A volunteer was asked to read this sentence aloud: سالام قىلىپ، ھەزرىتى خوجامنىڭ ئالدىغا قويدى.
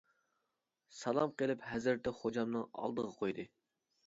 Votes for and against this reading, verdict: 3, 1, accepted